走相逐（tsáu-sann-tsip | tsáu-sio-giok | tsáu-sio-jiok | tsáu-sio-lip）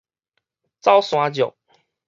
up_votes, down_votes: 4, 0